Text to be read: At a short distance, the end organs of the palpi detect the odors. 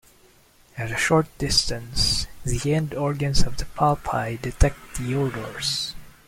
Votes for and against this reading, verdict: 2, 0, accepted